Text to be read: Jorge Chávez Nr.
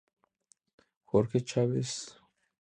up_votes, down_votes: 2, 0